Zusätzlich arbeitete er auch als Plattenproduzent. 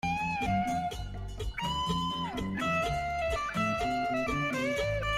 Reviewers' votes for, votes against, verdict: 0, 2, rejected